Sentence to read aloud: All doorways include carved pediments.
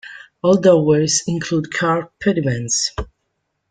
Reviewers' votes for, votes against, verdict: 2, 0, accepted